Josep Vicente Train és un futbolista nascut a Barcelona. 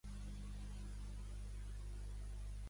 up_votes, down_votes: 0, 2